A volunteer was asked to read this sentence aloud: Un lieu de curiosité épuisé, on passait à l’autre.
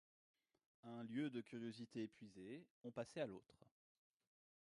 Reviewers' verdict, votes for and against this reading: rejected, 1, 2